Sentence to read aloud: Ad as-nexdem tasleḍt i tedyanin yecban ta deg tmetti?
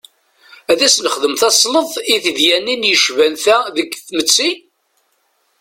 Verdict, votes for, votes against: accepted, 2, 1